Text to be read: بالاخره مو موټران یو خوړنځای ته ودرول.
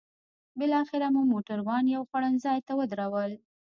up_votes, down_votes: 1, 2